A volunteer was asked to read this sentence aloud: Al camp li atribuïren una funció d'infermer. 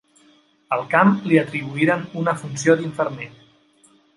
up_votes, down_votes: 3, 0